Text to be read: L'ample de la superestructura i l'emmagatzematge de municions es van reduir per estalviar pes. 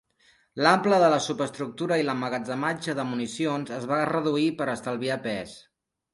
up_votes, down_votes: 2, 0